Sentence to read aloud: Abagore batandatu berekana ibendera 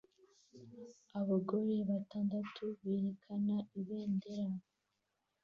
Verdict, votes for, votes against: accepted, 2, 0